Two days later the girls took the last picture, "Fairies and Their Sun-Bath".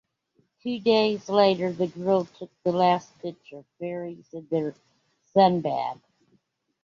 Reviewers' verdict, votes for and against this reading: accepted, 2, 0